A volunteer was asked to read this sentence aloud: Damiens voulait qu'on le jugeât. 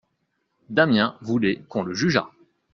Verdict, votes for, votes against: accepted, 2, 0